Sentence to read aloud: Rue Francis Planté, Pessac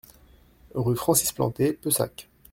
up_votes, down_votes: 2, 0